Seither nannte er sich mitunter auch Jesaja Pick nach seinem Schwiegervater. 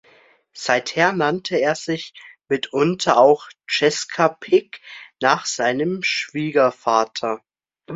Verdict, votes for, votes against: rejected, 0, 2